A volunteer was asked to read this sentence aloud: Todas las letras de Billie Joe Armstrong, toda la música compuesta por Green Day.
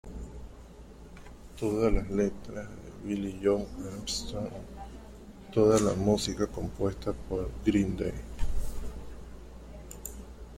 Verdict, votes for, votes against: rejected, 0, 2